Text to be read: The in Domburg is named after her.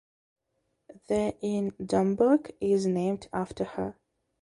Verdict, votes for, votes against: accepted, 2, 1